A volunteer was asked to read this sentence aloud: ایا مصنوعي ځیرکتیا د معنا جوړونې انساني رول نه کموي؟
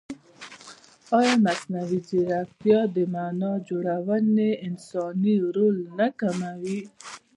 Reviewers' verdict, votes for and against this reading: rejected, 1, 2